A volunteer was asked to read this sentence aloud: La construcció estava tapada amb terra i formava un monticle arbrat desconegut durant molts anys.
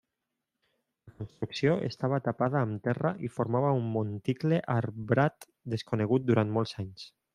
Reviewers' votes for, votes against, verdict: 0, 2, rejected